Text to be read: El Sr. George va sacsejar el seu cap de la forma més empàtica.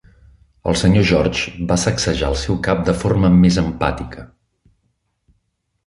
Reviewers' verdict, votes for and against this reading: rejected, 1, 2